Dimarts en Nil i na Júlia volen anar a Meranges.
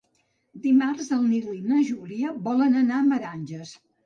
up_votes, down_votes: 1, 2